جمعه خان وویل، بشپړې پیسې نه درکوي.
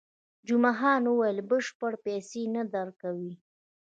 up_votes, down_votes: 2, 1